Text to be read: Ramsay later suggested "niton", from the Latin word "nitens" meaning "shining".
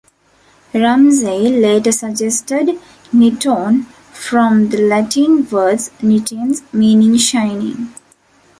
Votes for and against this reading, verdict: 2, 0, accepted